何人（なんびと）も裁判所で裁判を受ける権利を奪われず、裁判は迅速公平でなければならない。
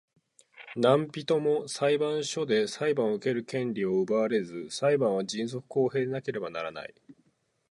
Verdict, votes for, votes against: accepted, 4, 0